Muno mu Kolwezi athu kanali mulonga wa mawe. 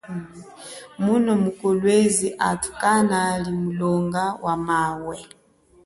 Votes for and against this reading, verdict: 1, 2, rejected